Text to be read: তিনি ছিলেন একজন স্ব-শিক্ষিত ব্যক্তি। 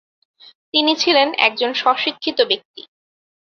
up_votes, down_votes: 2, 0